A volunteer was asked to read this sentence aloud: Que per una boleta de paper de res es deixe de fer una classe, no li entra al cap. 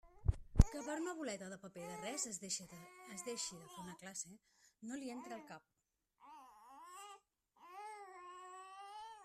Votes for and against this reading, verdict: 0, 2, rejected